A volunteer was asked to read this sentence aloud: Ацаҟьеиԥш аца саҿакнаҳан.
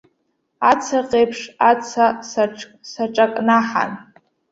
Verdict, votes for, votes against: rejected, 1, 2